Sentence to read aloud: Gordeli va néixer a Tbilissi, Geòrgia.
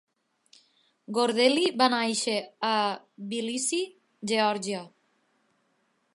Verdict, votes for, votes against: accepted, 2, 1